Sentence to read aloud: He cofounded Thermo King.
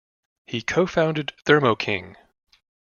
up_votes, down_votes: 2, 0